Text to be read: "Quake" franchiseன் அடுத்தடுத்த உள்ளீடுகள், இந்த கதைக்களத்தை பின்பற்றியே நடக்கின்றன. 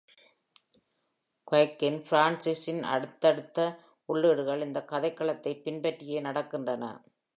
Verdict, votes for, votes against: accepted, 2, 0